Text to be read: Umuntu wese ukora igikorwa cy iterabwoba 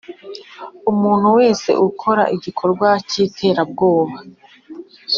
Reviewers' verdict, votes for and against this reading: accepted, 2, 0